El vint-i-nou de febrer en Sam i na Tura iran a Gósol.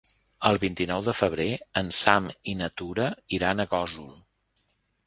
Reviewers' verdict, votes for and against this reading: accepted, 4, 0